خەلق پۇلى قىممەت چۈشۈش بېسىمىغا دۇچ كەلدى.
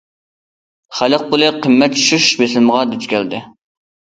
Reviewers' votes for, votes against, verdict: 2, 0, accepted